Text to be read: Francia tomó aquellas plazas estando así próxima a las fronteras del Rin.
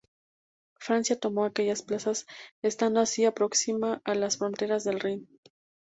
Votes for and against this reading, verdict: 0, 2, rejected